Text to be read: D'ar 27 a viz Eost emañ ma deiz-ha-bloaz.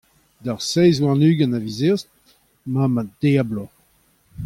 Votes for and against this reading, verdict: 0, 2, rejected